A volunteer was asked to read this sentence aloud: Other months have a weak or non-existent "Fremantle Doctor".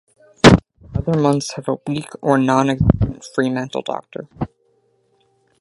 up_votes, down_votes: 0, 2